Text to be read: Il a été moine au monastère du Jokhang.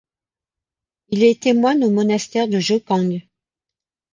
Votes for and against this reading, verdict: 0, 2, rejected